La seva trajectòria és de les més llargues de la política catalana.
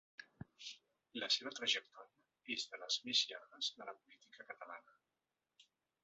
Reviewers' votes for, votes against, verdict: 1, 3, rejected